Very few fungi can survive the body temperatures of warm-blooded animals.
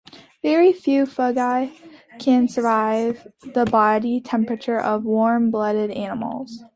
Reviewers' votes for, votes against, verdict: 2, 0, accepted